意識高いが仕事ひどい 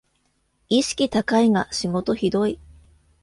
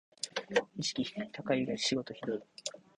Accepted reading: first